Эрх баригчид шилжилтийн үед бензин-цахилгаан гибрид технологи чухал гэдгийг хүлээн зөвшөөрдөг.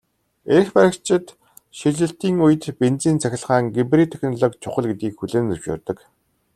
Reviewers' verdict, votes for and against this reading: accepted, 2, 0